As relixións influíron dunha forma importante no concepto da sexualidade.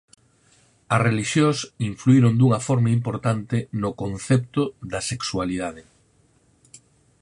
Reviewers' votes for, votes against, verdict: 4, 0, accepted